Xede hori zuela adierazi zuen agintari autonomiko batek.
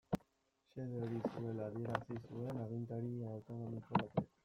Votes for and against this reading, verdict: 0, 2, rejected